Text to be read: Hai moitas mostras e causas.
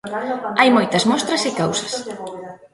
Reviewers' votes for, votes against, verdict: 0, 2, rejected